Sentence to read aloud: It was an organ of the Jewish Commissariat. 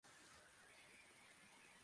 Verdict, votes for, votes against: rejected, 0, 2